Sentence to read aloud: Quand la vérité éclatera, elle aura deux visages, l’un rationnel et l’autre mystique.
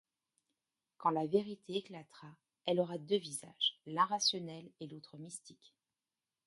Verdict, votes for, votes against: rejected, 1, 2